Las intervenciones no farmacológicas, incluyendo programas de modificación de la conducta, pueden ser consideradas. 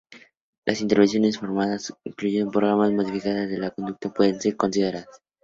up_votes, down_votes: 0, 4